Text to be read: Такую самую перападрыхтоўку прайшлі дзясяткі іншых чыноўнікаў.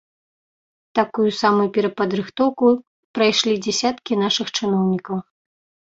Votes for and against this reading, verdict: 0, 2, rejected